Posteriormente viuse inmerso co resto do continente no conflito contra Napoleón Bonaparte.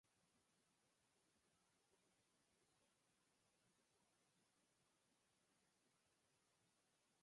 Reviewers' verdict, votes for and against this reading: rejected, 0, 4